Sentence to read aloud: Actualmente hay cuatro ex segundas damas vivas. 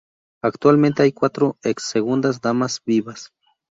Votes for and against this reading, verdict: 2, 0, accepted